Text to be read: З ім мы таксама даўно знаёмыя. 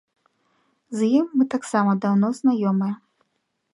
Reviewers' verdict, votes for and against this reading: accepted, 2, 0